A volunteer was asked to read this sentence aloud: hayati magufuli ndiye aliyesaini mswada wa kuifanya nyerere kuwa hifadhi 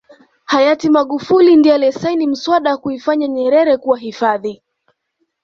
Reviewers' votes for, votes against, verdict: 2, 0, accepted